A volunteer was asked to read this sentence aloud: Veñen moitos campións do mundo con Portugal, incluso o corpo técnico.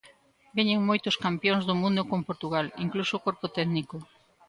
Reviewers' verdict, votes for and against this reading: rejected, 1, 2